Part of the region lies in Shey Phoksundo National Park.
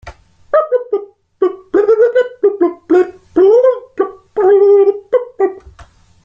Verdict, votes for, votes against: rejected, 0, 3